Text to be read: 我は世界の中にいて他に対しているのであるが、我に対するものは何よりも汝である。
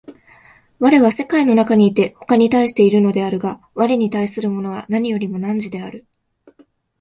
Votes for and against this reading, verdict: 2, 0, accepted